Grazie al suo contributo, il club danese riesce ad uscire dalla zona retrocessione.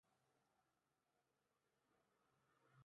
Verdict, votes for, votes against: rejected, 0, 2